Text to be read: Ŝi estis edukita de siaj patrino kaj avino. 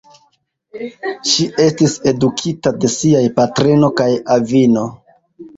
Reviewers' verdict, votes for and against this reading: accepted, 2, 0